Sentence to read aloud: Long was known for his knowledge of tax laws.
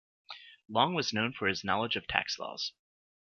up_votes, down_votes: 2, 0